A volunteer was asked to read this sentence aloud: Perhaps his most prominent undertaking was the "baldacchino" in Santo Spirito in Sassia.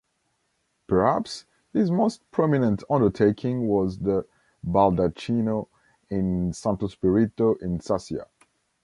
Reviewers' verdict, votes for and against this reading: accepted, 2, 0